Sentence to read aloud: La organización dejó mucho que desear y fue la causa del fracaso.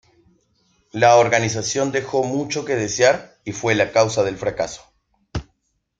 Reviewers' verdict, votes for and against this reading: accepted, 2, 0